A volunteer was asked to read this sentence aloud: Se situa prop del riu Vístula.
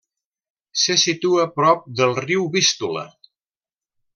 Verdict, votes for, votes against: accepted, 2, 0